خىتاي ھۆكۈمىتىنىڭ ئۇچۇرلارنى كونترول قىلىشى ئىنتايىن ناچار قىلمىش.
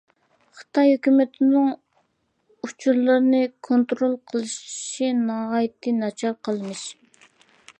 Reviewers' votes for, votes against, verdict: 0, 2, rejected